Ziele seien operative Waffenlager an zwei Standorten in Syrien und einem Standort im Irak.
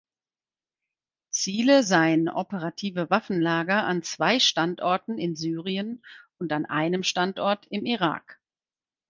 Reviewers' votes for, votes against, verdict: 0, 4, rejected